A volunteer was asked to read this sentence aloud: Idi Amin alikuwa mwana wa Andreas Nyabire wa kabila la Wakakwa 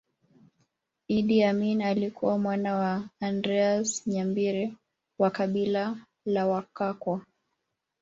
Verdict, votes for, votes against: accepted, 2, 0